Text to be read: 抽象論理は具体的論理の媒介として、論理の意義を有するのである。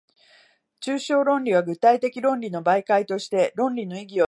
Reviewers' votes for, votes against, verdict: 1, 2, rejected